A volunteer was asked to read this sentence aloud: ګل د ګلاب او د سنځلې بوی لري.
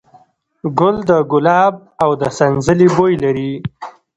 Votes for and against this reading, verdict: 2, 0, accepted